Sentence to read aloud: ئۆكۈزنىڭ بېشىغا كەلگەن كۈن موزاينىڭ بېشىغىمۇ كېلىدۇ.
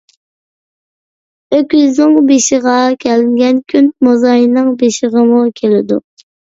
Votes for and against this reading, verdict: 2, 0, accepted